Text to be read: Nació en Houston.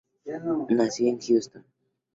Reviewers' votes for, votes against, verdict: 0, 2, rejected